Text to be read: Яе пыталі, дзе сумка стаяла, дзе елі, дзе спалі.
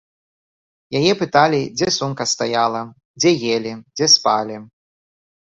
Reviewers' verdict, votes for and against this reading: accepted, 2, 0